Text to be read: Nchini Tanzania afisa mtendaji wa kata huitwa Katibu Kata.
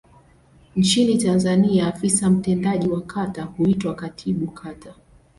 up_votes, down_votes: 2, 0